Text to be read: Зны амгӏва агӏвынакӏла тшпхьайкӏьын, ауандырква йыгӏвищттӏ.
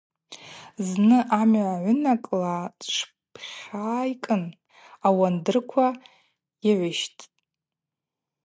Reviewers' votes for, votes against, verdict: 2, 0, accepted